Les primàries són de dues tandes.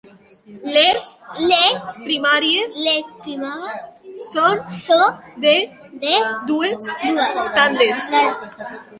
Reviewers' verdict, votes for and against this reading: rejected, 0, 2